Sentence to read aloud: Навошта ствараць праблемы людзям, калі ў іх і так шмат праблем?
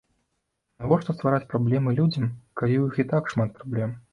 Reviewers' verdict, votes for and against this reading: accepted, 2, 0